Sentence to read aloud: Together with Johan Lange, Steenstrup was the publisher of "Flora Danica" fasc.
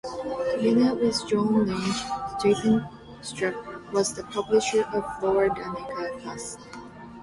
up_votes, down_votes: 1, 2